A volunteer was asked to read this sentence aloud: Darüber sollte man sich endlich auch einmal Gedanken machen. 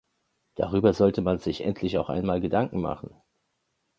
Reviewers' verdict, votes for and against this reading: accepted, 2, 0